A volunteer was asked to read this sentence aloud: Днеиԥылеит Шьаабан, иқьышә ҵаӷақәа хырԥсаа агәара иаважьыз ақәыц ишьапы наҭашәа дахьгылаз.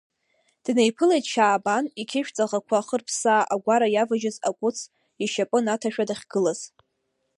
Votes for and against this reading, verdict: 2, 0, accepted